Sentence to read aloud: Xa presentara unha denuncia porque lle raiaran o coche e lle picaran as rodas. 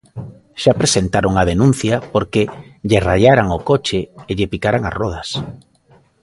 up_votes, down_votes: 2, 0